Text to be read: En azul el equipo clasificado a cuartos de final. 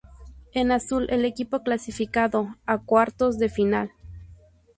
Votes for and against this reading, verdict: 0, 2, rejected